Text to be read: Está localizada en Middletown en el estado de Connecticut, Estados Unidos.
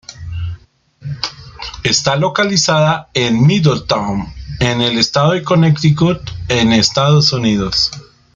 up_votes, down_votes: 0, 2